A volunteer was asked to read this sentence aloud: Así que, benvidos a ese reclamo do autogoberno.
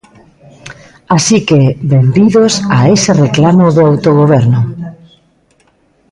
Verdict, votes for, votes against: rejected, 1, 2